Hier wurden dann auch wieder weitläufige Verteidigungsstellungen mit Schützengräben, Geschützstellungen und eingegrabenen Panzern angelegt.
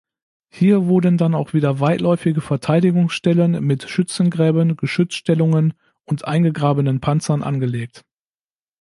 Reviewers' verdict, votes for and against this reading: rejected, 0, 2